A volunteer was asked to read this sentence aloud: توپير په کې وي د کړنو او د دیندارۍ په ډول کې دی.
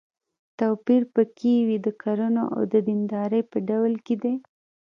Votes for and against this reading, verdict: 1, 2, rejected